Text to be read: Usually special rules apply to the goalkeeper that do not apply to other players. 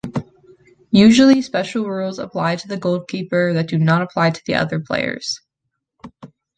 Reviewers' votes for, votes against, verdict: 2, 1, accepted